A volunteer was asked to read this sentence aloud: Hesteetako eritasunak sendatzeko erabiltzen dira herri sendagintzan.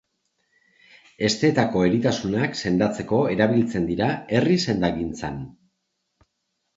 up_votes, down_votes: 2, 0